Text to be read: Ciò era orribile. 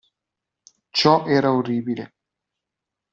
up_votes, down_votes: 2, 0